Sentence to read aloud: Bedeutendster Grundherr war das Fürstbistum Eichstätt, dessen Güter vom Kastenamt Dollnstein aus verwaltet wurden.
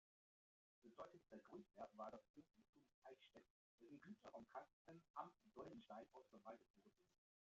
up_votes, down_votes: 0, 2